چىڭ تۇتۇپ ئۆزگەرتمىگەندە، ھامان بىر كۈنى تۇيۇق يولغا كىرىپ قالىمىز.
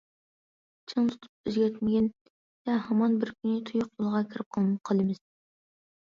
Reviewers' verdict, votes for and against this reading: rejected, 0, 2